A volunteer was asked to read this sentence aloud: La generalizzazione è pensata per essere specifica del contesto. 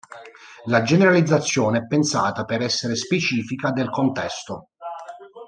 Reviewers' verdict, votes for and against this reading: accepted, 2, 0